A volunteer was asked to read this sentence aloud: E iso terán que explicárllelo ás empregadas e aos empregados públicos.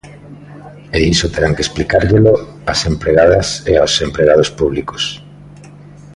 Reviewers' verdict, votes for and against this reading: accepted, 2, 0